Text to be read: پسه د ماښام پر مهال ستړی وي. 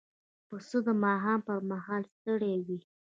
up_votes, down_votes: 2, 0